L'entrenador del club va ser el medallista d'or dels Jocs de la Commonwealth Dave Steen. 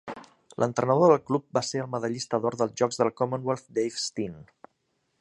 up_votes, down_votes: 2, 0